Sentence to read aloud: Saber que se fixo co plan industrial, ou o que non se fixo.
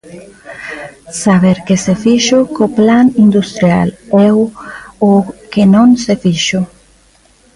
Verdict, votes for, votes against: rejected, 0, 2